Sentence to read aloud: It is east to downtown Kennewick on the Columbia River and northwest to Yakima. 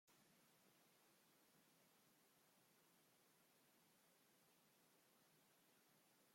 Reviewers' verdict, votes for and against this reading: rejected, 0, 2